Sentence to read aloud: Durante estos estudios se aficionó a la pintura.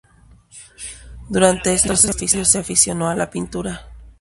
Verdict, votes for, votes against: rejected, 2, 2